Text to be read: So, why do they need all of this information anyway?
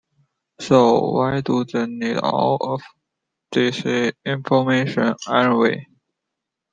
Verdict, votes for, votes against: accepted, 2, 1